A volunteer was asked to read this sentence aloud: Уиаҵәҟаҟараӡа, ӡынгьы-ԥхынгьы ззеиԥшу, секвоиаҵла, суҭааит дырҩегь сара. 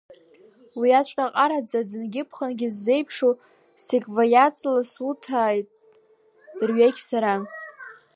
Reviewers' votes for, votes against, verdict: 1, 2, rejected